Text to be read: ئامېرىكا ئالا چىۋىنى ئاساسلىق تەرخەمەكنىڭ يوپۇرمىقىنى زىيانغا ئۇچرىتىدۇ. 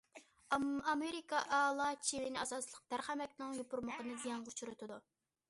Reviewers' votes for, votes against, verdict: 1, 2, rejected